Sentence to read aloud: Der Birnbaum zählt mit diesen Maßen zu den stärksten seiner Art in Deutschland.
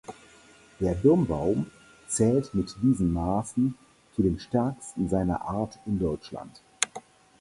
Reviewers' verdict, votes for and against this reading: accepted, 4, 0